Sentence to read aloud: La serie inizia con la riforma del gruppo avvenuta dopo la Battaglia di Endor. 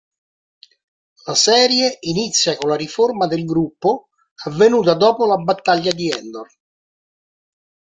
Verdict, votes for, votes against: accepted, 2, 1